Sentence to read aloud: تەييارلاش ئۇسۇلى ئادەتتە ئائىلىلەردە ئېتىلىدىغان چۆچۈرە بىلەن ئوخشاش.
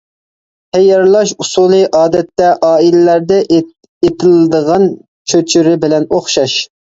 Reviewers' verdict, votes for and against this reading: rejected, 0, 2